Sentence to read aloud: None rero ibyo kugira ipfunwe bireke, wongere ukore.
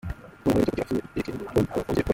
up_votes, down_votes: 0, 2